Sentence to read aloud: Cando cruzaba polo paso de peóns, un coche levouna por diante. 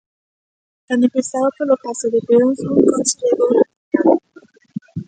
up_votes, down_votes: 0, 2